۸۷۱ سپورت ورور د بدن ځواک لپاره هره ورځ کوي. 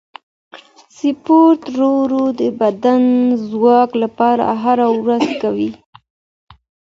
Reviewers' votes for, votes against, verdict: 0, 2, rejected